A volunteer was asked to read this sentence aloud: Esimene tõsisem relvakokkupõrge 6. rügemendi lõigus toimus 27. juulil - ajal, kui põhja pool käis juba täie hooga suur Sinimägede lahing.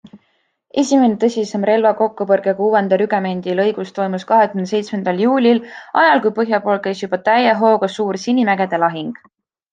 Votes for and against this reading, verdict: 0, 2, rejected